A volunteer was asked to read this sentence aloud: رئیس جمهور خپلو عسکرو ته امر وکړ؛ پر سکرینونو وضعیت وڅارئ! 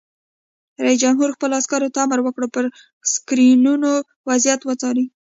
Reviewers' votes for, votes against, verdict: 1, 2, rejected